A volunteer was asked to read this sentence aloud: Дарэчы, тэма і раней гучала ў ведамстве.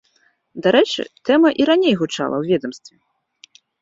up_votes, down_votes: 2, 0